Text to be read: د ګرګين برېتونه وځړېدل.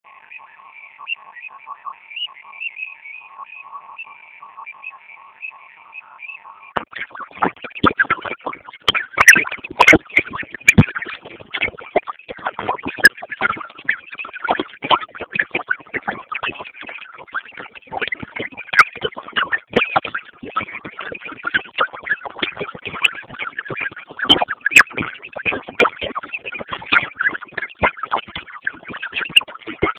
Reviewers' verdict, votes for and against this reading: rejected, 0, 2